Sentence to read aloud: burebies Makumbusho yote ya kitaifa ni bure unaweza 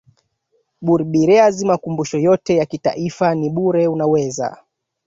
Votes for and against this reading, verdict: 2, 1, accepted